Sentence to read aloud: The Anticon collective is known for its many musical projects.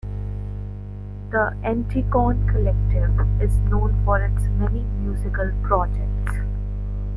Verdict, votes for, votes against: rejected, 0, 2